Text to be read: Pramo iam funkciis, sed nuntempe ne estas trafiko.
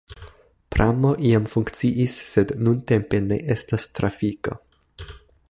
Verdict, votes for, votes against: accepted, 2, 0